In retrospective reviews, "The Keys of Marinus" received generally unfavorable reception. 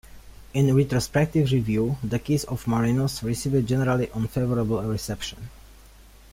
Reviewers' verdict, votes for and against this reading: rejected, 1, 2